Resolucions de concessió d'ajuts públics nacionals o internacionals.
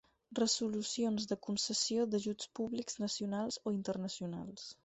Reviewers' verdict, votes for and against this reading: accepted, 4, 0